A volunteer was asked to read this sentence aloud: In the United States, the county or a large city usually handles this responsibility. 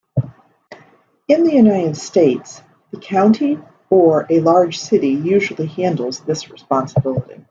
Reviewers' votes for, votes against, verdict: 2, 0, accepted